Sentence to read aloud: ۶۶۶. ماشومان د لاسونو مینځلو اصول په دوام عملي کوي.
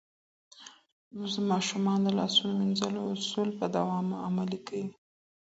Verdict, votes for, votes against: rejected, 0, 2